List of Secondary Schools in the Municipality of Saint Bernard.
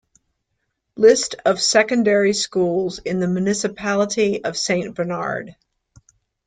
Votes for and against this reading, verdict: 2, 0, accepted